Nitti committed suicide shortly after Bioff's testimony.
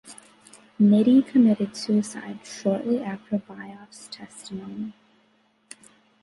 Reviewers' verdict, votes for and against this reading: rejected, 1, 2